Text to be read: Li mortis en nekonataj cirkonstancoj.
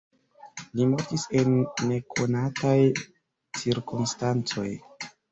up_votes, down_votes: 2, 1